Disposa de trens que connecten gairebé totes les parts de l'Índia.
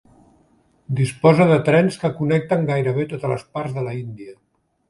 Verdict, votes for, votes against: rejected, 1, 2